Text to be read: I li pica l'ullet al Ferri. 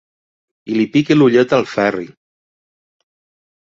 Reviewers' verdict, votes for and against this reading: accepted, 3, 0